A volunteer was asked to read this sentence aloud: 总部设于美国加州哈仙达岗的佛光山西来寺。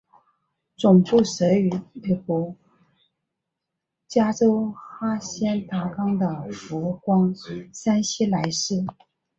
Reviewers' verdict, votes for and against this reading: rejected, 0, 2